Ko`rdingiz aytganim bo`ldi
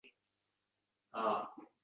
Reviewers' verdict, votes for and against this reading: rejected, 0, 2